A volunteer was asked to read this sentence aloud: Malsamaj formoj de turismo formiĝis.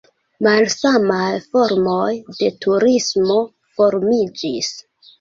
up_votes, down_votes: 3, 0